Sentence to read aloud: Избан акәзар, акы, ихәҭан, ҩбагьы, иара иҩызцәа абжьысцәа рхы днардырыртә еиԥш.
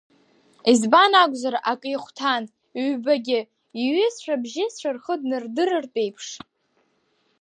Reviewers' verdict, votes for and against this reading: rejected, 1, 2